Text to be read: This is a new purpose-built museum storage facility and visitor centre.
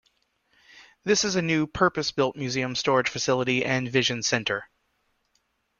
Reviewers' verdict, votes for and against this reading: rejected, 0, 2